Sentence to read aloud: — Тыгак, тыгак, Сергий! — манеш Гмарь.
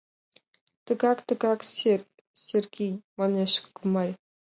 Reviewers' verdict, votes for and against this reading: accepted, 2, 1